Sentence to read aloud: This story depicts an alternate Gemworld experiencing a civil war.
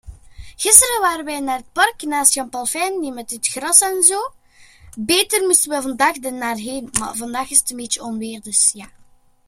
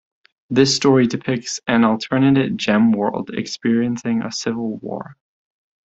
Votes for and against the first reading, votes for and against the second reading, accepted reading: 0, 2, 2, 0, second